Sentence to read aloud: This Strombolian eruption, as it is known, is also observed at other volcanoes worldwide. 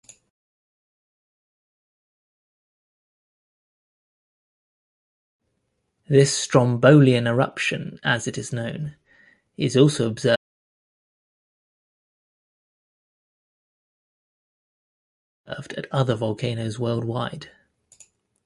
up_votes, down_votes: 0, 2